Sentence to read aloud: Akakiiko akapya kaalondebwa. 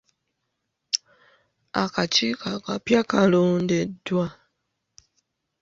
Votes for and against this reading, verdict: 2, 3, rejected